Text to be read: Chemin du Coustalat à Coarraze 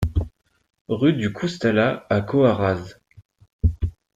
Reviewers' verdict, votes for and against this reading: rejected, 0, 2